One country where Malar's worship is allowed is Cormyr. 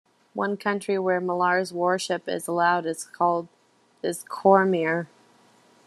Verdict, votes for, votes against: rejected, 0, 2